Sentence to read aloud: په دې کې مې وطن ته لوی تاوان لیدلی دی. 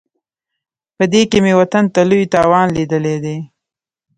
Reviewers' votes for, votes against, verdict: 0, 2, rejected